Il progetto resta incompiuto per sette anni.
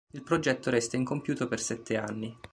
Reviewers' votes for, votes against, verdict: 2, 0, accepted